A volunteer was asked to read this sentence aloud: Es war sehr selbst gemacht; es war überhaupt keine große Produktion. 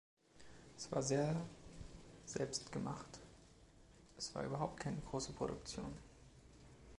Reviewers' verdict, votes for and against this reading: accepted, 2, 0